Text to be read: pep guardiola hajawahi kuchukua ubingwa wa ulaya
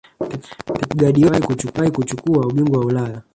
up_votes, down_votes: 0, 2